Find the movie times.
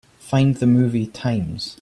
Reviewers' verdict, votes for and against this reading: accepted, 2, 0